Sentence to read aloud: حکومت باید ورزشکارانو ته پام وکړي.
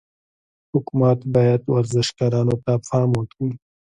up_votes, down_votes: 3, 1